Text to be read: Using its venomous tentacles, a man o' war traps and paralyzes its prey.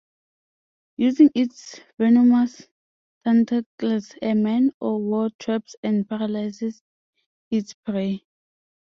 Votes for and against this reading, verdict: 2, 0, accepted